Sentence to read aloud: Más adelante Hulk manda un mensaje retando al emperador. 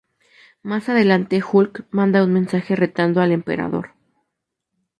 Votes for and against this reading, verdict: 2, 0, accepted